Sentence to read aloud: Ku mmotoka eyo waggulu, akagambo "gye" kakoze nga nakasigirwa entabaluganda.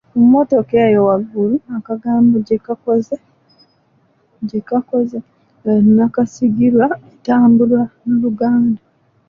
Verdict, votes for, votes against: rejected, 0, 2